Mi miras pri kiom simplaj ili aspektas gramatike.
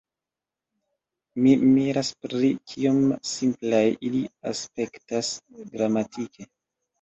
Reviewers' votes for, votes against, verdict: 2, 0, accepted